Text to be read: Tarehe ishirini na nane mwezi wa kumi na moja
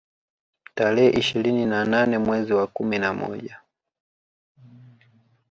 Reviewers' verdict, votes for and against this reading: accepted, 2, 1